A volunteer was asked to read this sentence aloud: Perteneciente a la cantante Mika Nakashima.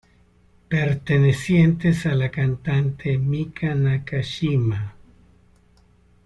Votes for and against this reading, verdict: 0, 2, rejected